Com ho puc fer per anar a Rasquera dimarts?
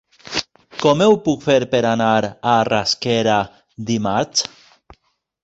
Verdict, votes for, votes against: rejected, 0, 2